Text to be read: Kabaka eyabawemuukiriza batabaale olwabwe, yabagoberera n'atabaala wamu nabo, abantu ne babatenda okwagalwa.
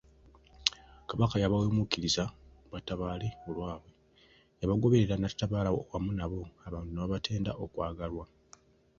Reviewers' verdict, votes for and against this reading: accepted, 2, 0